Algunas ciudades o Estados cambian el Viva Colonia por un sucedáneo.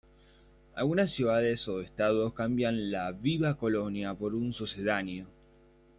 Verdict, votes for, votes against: rejected, 1, 2